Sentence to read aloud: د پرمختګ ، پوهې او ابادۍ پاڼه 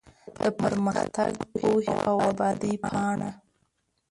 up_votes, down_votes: 1, 2